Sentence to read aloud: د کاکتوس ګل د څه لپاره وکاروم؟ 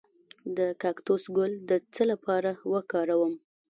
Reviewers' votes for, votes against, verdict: 0, 2, rejected